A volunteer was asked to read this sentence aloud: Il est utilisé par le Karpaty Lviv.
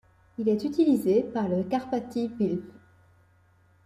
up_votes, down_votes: 1, 2